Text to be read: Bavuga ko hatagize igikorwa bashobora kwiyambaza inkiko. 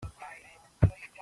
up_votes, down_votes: 0, 3